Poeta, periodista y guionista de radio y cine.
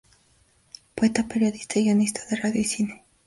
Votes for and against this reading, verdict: 2, 0, accepted